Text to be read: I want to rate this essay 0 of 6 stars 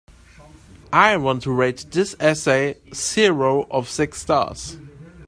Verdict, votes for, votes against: rejected, 0, 2